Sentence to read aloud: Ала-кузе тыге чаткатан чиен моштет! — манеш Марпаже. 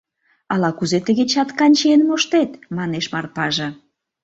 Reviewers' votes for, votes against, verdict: 1, 2, rejected